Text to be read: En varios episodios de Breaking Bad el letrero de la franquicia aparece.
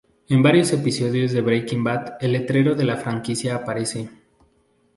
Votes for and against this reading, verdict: 2, 0, accepted